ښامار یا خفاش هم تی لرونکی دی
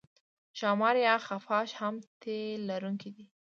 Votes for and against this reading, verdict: 0, 2, rejected